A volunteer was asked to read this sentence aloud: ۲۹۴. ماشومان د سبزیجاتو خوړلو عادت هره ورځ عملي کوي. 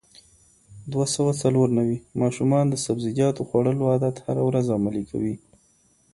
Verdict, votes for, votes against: rejected, 0, 2